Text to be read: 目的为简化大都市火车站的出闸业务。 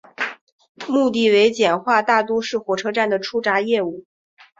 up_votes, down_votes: 2, 1